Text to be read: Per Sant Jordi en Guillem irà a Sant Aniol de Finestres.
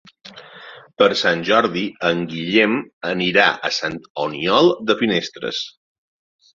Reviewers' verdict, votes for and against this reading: rejected, 0, 2